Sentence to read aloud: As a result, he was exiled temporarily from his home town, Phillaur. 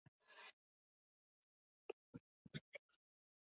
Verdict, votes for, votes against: rejected, 0, 2